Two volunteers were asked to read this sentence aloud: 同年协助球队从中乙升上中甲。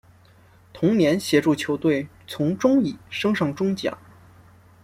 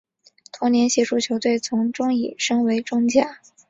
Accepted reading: first